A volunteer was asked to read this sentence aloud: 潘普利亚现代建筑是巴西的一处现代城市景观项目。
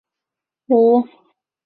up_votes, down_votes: 0, 6